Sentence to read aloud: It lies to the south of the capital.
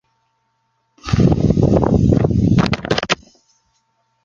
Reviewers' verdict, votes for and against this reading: rejected, 0, 2